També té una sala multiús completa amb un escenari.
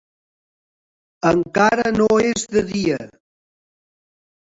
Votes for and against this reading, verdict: 0, 3, rejected